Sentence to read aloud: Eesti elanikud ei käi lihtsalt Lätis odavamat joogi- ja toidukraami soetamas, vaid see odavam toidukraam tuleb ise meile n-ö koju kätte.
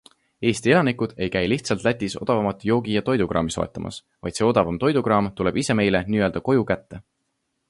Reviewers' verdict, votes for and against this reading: accepted, 2, 0